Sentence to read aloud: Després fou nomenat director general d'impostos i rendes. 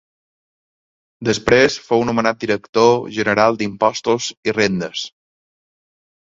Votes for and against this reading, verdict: 2, 0, accepted